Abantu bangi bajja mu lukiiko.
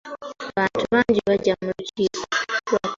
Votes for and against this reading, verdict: 2, 0, accepted